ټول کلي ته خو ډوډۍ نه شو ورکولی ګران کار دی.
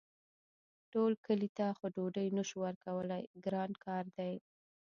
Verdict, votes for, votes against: rejected, 0, 2